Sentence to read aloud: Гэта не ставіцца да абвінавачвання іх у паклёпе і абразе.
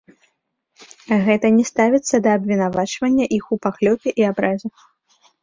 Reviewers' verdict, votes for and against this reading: rejected, 1, 2